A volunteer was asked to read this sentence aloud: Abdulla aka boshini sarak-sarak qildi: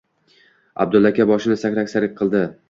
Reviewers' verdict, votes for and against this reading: rejected, 1, 2